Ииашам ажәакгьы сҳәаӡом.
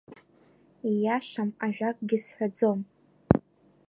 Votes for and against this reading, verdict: 2, 0, accepted